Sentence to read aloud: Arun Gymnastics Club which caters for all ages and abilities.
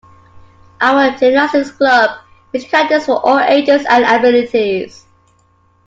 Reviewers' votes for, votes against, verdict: 0, 2, rejected